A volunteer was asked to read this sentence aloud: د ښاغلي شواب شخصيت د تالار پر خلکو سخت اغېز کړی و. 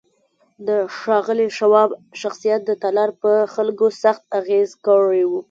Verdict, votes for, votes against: accepted, 2, 0